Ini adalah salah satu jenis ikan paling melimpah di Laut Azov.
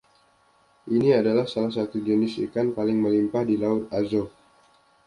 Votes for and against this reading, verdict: 2, 0, accepted